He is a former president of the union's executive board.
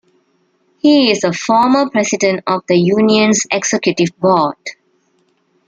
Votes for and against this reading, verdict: 2, 0, accepted